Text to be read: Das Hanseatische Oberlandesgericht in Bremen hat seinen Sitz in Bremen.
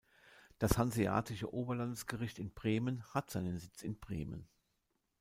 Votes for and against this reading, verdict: 3, 0, accepted